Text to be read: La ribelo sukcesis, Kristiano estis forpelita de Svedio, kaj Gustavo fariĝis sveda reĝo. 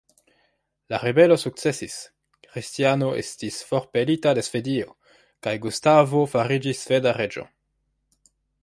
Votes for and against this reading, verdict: 2, 0, accepted